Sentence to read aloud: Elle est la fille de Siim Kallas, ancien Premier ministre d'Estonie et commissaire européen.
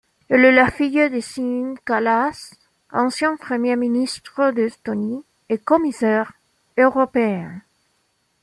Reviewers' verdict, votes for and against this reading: accepted, 2, 0